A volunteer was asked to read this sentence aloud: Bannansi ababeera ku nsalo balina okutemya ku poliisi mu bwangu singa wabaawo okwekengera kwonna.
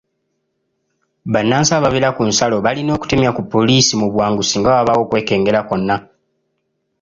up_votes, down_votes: 2, 0